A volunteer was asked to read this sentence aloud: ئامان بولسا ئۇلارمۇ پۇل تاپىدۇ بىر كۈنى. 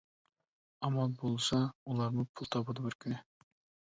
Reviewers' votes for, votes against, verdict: 2, 0, accepted